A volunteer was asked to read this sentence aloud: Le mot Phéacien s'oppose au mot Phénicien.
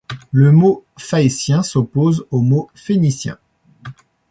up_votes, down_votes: 1, 2